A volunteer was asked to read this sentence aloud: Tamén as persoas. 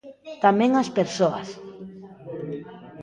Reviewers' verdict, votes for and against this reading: rejected, 1, 2